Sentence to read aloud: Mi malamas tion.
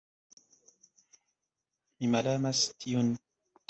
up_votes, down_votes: 1, 2